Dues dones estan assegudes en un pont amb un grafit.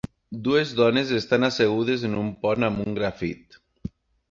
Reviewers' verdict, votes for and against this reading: accepted, 3, 0